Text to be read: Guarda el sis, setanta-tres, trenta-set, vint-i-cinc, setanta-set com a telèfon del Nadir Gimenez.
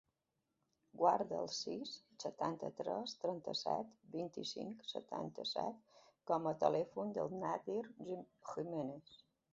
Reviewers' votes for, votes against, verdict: 2, 1, accepted